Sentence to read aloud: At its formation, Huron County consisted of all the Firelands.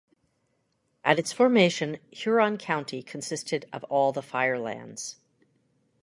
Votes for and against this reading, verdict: 2, 0, accepted